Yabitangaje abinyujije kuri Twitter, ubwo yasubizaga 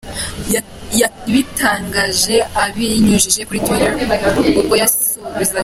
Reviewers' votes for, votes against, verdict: 0, 2, rejected